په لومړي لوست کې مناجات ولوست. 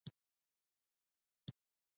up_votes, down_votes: 1, 2